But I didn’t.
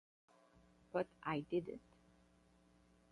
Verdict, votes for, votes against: rejected, 0, 8